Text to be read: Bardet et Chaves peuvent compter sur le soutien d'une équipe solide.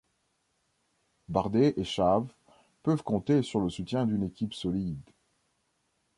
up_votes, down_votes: 2, 1